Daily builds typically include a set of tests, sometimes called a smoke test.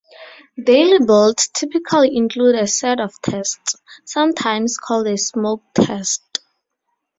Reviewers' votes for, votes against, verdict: 4, 0, accepted